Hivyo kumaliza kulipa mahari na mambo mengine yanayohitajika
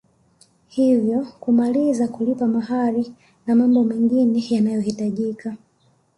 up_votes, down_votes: 1, 2